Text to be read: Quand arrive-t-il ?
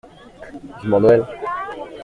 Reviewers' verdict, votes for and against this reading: rejected, 0, 2